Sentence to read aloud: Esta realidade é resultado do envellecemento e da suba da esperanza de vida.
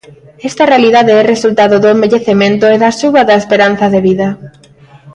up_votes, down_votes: 2, 1